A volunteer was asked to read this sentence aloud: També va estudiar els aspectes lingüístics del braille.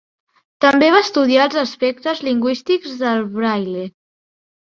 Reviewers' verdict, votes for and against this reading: accepted, 2, 0